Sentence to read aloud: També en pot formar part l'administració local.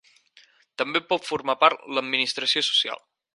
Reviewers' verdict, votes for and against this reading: rejected, 0, 4